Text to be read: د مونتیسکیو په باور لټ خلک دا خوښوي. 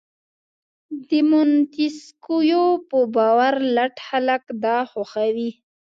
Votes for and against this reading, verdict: 1, 2, rejected